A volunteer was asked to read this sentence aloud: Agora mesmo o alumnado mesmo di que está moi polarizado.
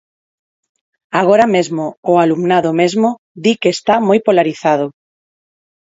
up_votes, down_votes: 4, 0